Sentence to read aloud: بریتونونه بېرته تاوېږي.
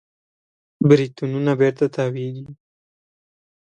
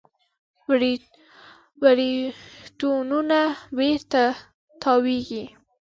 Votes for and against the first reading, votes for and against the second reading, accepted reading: 2, 0, 1, 2, first